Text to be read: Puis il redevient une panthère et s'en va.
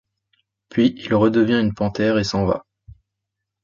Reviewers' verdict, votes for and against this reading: accepted, 2, 0